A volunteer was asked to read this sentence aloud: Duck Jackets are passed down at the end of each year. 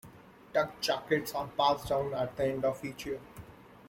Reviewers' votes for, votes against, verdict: 2, 0, accepted